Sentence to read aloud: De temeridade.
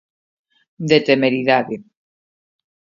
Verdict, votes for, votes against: accepted, 2, 0